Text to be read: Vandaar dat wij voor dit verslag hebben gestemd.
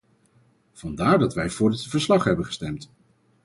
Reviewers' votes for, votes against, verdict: 4, 0, accepted